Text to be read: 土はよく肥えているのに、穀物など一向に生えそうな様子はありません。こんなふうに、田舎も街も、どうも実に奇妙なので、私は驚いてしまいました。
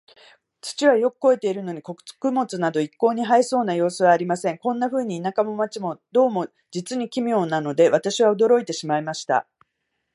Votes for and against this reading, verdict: 1, 2, rejected